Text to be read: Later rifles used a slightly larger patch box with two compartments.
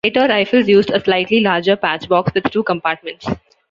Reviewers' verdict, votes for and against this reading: rejected, 1, 2